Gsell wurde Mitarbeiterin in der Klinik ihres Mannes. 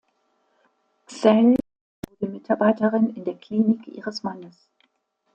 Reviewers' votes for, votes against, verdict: 0, 2, rejected